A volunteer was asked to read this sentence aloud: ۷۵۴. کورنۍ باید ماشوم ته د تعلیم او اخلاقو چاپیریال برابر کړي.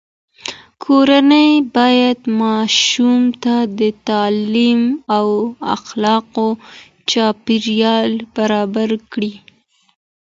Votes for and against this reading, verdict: 0, 2, rejected